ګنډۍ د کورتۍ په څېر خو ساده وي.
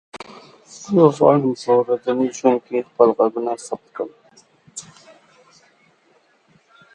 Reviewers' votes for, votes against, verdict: 0, 2, rejected